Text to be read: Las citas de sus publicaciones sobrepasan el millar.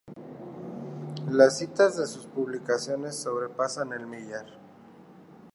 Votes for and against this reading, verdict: 2, 0, accepted